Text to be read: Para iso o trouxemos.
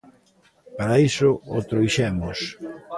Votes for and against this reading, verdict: 1, 2, rejected